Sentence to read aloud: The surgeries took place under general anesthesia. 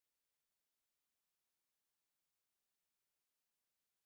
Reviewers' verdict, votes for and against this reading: rejected, 0, 2